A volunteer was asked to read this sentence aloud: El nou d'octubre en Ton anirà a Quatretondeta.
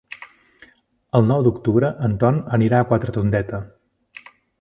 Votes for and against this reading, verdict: 2, 0, accepted